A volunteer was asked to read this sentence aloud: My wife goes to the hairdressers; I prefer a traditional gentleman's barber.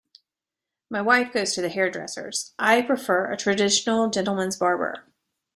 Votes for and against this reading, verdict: 2, 0, accepted